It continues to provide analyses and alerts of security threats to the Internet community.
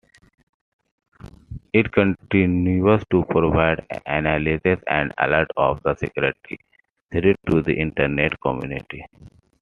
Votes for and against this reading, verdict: 1, 2, rejected